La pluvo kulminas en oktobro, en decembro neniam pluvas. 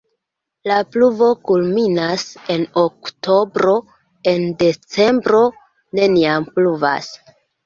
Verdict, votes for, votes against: accepted, 2, 1